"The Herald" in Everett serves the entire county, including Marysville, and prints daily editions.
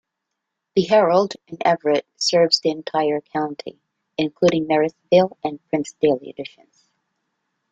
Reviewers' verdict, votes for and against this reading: rejected, 0, 2